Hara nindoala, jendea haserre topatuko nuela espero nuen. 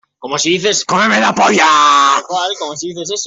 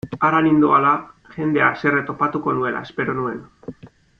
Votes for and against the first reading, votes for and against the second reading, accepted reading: 0, 2, 2, 0, second